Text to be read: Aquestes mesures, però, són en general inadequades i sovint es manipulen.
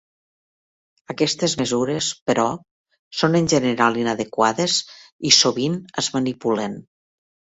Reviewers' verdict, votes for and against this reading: accepted, 3, 0